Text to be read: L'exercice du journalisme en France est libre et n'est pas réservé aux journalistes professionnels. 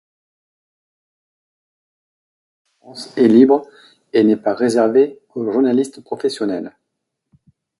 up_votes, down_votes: 0, 2